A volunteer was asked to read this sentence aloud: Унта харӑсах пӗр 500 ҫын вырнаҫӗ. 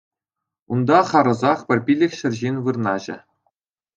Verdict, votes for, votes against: rejected, 0, 2